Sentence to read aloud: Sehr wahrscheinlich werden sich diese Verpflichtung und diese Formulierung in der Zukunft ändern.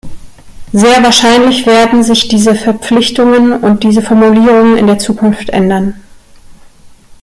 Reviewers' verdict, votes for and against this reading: rejected, 1, 2